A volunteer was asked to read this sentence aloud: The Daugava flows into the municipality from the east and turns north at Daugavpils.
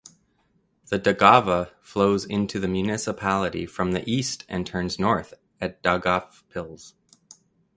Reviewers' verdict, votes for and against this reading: accepted, 2, 0